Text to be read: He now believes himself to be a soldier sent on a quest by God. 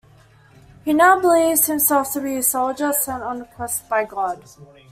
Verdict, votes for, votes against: accepted, 2, 0